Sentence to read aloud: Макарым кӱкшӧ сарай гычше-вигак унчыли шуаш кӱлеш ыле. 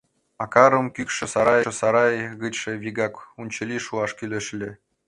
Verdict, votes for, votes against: rejected, 0, 2